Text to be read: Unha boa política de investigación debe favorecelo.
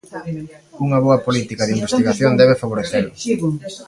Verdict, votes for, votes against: rejected, 1, 2